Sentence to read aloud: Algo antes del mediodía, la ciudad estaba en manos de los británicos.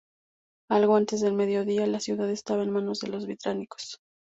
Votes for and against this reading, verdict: 2, 0, accepted